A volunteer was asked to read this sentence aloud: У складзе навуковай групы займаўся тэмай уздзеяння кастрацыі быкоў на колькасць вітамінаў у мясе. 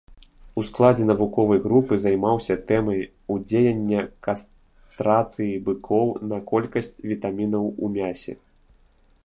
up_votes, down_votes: 1, 2